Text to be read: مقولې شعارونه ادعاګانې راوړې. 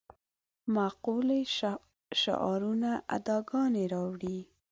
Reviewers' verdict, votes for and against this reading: rejected, 0, 2